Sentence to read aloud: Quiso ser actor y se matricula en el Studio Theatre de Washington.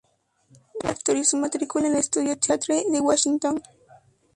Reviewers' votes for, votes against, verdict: 0, 4, rejected